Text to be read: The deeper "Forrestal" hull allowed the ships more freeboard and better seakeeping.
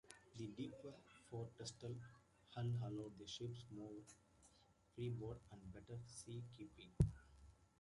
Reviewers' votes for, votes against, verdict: 2, 1, accepted